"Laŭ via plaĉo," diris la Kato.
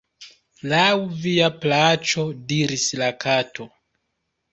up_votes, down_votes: 2, 0